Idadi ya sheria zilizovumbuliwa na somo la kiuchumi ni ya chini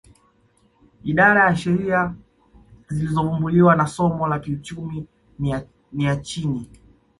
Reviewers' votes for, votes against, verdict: 1, 2, rejected